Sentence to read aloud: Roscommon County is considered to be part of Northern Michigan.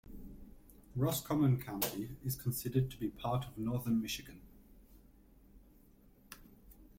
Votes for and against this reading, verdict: 2, 0, accepted